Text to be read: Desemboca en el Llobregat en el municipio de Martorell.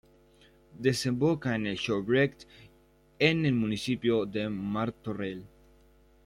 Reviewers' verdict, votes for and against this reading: rejected, 0, 2